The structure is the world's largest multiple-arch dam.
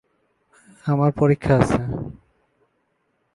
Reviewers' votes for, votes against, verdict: 0, 2, rejected